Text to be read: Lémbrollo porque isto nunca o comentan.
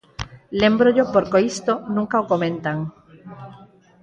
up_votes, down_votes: 4, 0